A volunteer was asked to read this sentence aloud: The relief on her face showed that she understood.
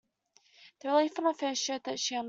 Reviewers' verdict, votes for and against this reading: rejected, 0, 2